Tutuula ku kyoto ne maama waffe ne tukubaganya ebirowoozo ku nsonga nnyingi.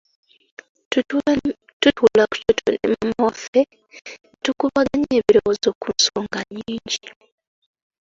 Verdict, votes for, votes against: accepted, 2, 1